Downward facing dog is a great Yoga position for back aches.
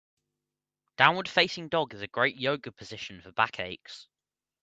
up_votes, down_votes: 2, 0